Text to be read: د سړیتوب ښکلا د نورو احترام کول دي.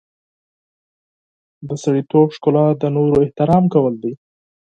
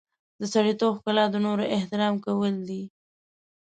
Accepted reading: first